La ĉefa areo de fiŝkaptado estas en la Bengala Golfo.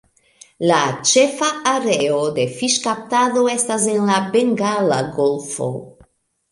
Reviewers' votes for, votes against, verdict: 2, 0, accepted